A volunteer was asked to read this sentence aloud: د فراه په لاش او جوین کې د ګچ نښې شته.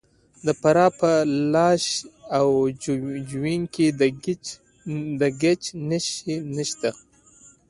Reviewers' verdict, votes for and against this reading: accepted, 2, 0